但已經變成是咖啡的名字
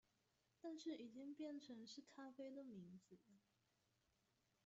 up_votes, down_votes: 0, 2